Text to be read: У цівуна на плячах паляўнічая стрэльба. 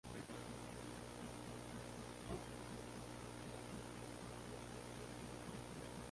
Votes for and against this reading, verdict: 0, 2, rejected